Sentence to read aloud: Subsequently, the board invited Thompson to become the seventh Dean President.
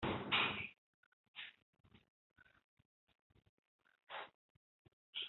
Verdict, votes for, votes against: rejected, 0, 2